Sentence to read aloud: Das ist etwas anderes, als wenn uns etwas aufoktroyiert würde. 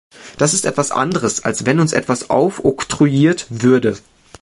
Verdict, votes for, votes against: accepted, 3, 1